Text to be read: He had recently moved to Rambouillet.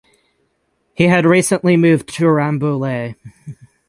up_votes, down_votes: 3, 3